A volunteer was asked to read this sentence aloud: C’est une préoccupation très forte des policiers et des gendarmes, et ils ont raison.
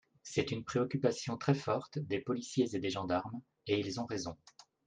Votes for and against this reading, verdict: 2, 0, accepted